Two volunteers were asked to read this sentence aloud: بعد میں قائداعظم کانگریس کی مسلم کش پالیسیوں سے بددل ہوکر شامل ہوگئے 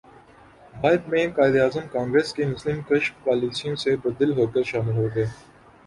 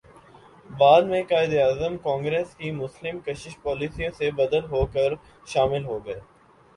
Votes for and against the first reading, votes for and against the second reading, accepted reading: 2, 4, 2, 1, second